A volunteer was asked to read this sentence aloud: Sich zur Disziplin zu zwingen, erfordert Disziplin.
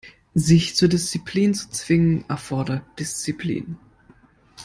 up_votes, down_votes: 2, 0